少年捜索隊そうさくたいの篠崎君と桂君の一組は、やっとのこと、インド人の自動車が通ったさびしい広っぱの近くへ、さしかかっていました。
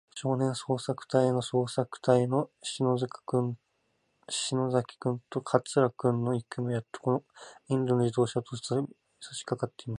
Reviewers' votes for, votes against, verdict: 0, 4, rejected